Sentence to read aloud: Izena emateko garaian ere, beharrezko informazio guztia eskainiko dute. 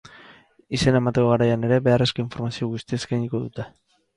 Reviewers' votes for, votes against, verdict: 2, 0, accepted